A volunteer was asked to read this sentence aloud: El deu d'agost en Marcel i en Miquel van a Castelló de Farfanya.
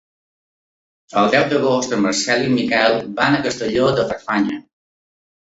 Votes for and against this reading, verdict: 2, 0, accepted